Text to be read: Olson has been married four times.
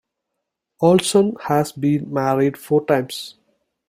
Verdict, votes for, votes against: accepted, 2, 0